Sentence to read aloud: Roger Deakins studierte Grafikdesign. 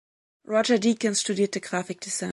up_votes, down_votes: 1, 3